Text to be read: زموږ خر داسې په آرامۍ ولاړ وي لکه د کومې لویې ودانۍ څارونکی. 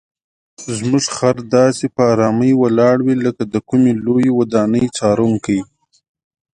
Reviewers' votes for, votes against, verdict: 2, 0, accepted